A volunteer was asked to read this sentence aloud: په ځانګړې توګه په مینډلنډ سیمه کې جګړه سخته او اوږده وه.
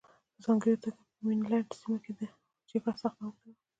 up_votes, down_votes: 1, 2